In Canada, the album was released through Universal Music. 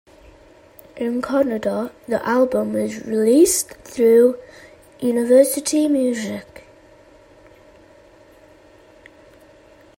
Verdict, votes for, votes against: rejected, 0, 2